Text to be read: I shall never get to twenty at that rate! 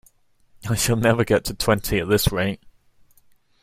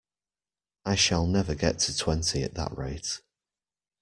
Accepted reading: second